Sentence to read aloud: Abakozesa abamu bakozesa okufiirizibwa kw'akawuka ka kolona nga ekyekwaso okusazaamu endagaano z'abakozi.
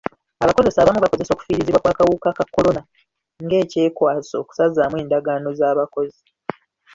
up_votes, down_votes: 0, 2